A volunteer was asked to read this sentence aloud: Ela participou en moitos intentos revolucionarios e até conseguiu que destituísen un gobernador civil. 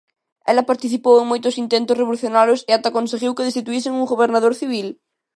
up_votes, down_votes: 2, 1